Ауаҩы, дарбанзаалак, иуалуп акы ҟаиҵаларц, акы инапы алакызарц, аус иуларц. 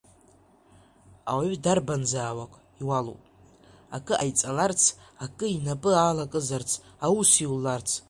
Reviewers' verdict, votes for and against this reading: accepted, 2, 0